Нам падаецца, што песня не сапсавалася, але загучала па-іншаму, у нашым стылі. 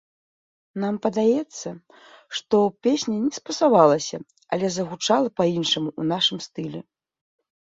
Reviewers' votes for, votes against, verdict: 1, 2, rejected